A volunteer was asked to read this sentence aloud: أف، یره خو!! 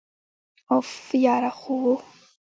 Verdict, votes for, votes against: accepted, 2, 0